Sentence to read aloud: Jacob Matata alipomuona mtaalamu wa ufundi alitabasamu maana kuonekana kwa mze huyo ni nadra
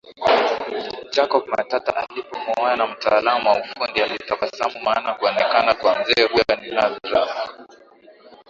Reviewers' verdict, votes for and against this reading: rejected, 0, 2